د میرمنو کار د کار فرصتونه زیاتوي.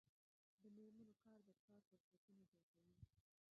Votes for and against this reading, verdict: 3, 0, accepted